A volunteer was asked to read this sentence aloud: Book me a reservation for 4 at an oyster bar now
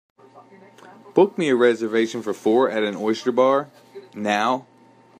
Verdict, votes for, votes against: rejected, 0, 2